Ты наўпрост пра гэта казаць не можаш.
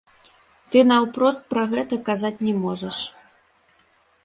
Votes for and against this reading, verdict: 0, 2, rejected